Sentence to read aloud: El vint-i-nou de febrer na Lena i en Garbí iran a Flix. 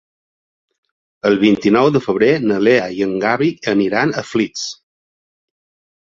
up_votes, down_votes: 1, 2